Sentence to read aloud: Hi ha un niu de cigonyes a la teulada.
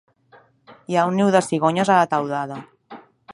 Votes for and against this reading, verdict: 1, 2, rejected